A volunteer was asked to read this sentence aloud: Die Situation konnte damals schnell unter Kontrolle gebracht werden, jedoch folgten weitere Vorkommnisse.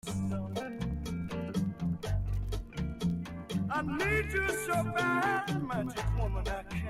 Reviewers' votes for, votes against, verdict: 0, 2, rejected